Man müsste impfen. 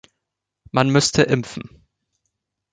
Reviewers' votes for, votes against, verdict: 2, 0, accepted